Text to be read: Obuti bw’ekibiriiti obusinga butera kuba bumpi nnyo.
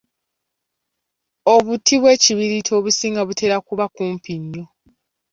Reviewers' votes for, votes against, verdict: 2, 3, rejected